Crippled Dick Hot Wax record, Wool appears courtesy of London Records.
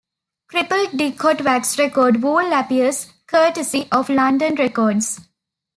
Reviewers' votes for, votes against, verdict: 2, 1, accepted